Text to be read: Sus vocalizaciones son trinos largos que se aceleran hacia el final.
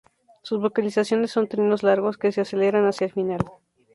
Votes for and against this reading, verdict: 2, 0, accepted